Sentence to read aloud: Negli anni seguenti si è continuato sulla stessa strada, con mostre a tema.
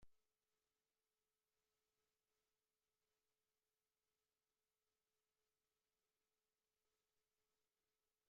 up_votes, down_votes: 0, 2